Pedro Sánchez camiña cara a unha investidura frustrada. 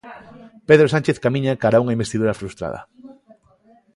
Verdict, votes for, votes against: accepted, 2, 0